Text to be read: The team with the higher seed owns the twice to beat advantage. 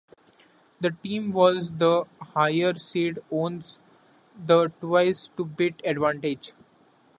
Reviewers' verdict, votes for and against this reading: rejected, 1, 2